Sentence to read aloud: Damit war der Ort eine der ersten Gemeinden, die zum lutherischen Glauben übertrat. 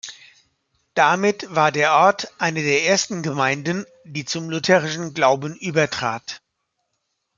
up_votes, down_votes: 2, 0